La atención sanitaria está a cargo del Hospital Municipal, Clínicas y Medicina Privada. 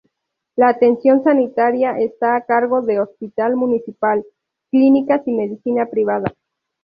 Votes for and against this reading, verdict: 0, 2, rejected